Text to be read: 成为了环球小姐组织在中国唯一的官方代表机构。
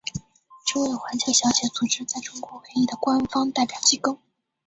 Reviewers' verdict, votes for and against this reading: rejected, 1, 2